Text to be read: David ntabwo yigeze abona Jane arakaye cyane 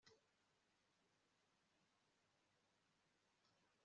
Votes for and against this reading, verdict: 1, 2, rejected